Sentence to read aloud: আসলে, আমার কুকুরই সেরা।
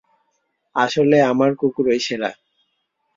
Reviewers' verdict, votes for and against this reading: rejected, 0, 2